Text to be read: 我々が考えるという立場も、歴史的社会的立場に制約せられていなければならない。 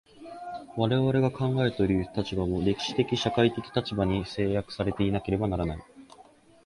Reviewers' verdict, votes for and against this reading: rejected, 2, 3